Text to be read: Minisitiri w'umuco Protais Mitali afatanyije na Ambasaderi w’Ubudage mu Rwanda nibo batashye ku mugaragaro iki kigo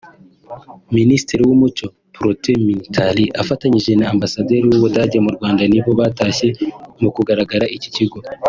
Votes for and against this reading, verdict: 2, 3, rejected